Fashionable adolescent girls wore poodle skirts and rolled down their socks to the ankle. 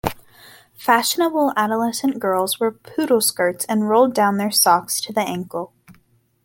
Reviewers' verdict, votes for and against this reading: accepted, 2, 0